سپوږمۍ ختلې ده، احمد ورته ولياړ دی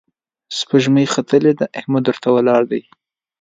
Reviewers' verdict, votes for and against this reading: accepted, 3, 1